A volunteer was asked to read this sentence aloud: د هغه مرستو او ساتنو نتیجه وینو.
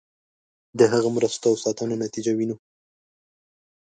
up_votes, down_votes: 5, 0